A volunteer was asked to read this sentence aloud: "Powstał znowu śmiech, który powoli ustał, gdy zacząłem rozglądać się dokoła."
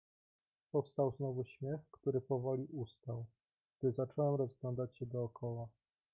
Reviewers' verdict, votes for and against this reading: rejected, 1, 2